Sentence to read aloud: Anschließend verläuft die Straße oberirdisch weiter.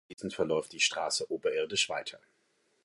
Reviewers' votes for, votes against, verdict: 0, 2, rejected